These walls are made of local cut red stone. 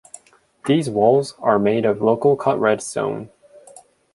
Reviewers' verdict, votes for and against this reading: accepted, 2, 0